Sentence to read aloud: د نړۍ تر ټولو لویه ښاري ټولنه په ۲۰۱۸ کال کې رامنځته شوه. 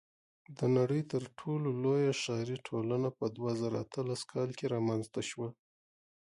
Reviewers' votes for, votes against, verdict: 0, 2, rejected